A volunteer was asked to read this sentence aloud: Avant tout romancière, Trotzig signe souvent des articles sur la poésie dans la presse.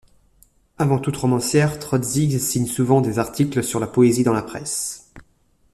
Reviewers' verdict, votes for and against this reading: rejected, 1, 2